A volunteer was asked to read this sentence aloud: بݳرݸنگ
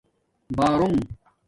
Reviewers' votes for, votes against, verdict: 2, 0, accepted